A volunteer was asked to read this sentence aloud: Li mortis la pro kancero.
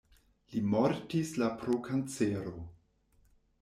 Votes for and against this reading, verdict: 1, 2, rejected